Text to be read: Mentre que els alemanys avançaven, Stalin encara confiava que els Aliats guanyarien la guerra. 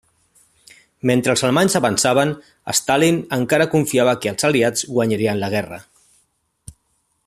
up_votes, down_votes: 2, 1